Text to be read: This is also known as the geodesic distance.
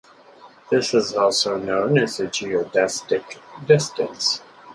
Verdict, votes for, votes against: rejected, 0, 4